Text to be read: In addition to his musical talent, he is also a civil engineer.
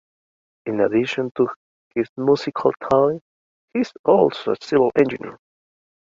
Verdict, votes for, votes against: rejected, 0, 2